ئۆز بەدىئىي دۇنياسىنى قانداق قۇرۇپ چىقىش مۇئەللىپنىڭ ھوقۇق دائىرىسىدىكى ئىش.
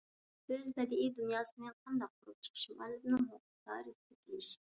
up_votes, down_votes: 0, 2